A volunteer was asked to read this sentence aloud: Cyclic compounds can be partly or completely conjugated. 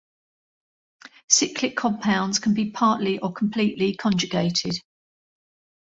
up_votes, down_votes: 2, 1